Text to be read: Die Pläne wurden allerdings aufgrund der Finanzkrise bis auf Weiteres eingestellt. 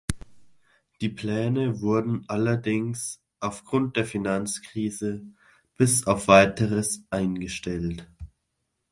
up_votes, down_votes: 2, 0